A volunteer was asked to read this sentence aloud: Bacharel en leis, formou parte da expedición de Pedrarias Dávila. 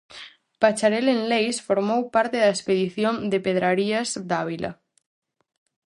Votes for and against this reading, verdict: 0, 4, rejected